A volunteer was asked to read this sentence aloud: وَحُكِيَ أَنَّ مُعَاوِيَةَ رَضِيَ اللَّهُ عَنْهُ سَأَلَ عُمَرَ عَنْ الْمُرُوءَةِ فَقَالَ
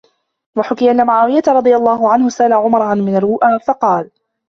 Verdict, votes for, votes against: rejected, 1, 2